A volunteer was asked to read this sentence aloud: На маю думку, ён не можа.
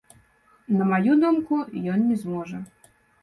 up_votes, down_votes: 0, 2